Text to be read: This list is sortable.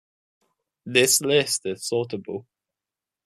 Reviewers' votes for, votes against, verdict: 2, 0, accepted